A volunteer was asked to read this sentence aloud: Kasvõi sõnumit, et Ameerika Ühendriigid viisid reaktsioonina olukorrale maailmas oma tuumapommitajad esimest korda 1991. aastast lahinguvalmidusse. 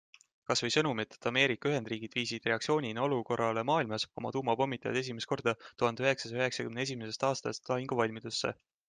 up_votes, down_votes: 0, 2